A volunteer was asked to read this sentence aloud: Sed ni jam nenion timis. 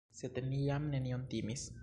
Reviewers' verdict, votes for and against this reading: rejected, 1, 2